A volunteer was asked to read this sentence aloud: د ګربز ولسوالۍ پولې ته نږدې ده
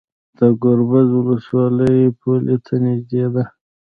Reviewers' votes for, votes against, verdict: 1, 2, rejected